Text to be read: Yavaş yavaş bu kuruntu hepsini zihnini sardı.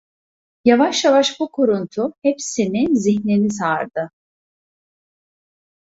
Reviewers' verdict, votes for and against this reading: rejected, 1, 2